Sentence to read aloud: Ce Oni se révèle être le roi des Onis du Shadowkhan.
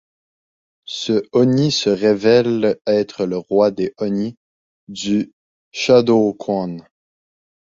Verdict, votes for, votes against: rejected, 1, 2